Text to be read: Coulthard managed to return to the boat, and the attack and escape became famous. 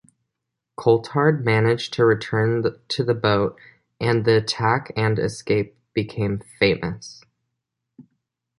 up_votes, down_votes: 2, 0